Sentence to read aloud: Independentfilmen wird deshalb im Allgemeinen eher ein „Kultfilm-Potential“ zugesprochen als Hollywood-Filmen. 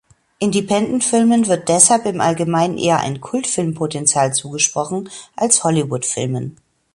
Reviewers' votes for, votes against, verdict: 2, 0, accepted